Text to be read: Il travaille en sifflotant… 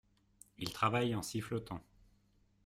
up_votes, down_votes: 2, 0